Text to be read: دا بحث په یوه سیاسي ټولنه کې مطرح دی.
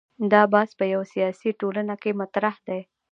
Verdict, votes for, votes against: accepted, 2, 0